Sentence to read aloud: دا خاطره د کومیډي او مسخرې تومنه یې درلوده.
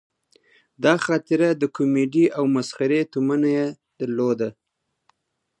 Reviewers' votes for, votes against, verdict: 2, 0, accepted